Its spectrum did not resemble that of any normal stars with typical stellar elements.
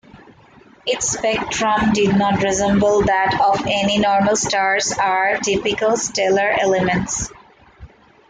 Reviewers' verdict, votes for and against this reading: accepted, 2, 1